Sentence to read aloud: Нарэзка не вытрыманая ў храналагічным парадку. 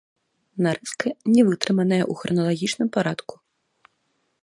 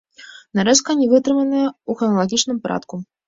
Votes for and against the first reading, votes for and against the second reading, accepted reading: 1, 2, 2, 1, second